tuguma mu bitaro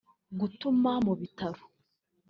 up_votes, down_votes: 0, 2